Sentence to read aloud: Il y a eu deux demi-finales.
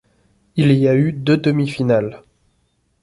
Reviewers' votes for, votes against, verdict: 1, 2, rejected